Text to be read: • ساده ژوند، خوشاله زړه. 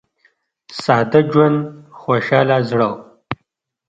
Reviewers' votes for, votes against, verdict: 1, 2, rejected